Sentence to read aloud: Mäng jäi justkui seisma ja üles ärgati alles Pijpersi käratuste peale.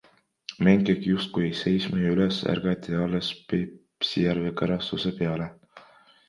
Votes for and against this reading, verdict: 1, 2, rejected